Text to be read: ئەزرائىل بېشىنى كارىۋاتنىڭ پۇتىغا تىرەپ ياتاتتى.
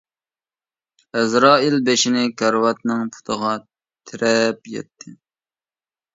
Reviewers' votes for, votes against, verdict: 0, 2, rejected